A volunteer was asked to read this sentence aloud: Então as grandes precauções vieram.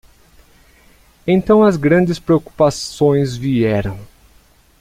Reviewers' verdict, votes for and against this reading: rejected, 0, 2